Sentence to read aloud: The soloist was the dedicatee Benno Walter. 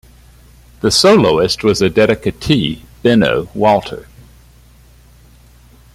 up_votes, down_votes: 2, 0